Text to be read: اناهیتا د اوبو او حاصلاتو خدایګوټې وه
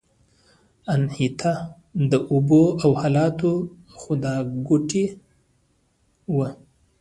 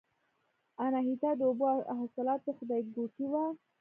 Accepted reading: first